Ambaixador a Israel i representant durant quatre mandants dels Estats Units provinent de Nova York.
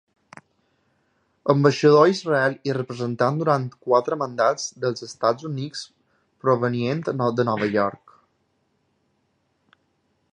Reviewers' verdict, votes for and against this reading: rejected, 0, 2